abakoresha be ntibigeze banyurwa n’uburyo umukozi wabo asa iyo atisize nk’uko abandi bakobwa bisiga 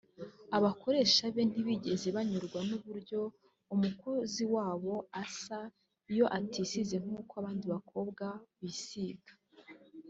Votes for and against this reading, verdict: 2, 0, accepted